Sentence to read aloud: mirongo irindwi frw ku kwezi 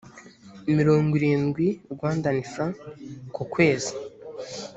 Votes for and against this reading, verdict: 1, 2, rejected